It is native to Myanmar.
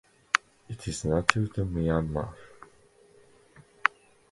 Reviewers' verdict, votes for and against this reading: accepted, 2, 0